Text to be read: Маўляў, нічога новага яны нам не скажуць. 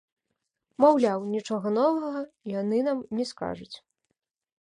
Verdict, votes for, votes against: accepted, 2, 0